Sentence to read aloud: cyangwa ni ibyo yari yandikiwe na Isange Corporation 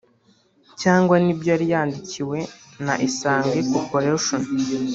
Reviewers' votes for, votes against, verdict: 1, 2, rejected